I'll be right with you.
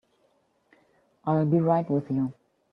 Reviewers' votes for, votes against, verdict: 2, 1, accepted